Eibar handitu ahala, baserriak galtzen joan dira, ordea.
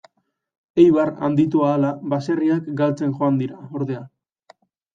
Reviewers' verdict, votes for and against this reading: accepted, 2, 0